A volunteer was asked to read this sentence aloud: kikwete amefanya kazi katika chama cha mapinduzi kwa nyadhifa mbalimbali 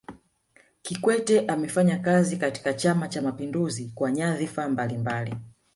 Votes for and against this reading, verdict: 1, 2, rejected